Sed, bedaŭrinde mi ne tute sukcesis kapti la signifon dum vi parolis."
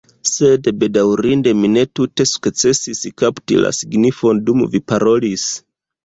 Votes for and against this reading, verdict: 0, 2, rejected